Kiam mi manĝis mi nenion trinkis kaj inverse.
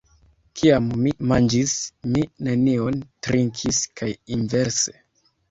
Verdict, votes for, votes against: rejected, 0, 2